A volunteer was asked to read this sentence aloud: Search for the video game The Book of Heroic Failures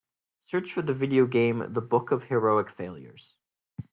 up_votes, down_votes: 2, 0